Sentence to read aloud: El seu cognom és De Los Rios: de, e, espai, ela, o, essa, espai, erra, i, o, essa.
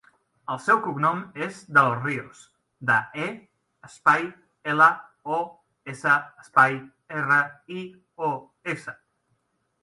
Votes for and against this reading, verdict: 2, 0, accepted